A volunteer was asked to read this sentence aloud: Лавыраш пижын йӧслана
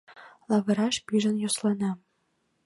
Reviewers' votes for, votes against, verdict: 2, 0, accepted